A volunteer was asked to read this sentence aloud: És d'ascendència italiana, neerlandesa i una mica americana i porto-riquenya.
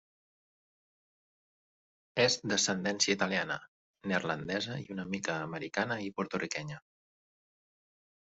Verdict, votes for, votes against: accepted, 2, 0